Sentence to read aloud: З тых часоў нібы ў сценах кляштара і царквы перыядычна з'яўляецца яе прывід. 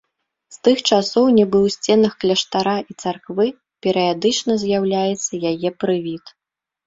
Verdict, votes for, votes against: rejected, 0, 2